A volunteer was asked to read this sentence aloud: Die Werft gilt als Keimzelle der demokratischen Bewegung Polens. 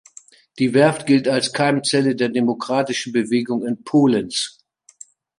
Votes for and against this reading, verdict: 0, 2, rejected